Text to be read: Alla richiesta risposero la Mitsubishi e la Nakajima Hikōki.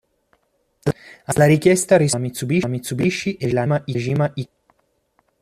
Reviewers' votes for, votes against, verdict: 0, 2, rejected